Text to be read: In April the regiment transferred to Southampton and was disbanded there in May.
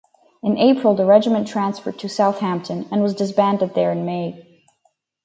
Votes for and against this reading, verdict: 2, 2, rejected